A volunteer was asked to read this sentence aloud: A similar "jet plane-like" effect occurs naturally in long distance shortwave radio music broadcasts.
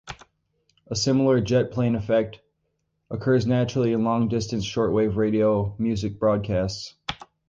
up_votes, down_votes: 0, 4